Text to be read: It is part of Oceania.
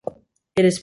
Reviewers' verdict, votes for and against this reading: rejected, 0, 2